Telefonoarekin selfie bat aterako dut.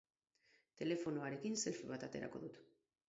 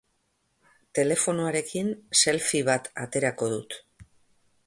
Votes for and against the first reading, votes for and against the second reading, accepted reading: 2, 2, 2, 0, second